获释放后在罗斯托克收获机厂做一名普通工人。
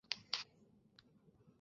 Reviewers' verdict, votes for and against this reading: rejected, 0, 5